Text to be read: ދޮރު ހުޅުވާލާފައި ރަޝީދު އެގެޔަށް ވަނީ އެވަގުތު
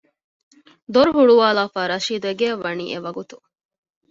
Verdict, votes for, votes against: accepted, 2, 0